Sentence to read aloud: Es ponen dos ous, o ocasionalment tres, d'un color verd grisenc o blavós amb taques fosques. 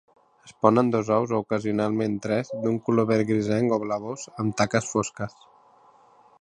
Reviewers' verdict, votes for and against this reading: rejected, 0, 2